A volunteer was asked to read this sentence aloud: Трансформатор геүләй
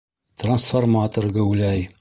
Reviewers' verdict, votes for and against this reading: accepted, 2, 0